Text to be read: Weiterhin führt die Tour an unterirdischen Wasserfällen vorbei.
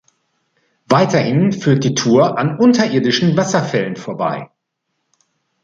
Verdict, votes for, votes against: accepted, 2, 1